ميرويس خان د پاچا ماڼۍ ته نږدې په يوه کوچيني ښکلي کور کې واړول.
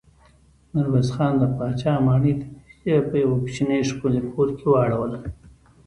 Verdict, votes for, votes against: accepted, 2, 0